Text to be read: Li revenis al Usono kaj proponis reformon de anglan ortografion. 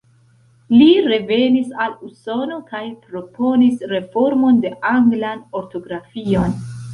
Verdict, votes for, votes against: accepted, 2, 1